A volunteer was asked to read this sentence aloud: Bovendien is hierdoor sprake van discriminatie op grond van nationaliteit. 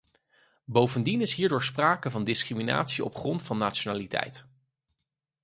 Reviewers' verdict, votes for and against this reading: accepted, 4, 0